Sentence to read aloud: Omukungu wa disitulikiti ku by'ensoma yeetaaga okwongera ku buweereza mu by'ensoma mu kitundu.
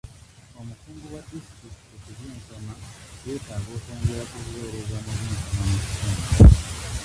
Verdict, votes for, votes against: rejected, 0, 2